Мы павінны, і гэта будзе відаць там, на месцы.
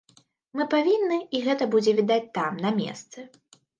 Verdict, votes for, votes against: accepted, 2, 0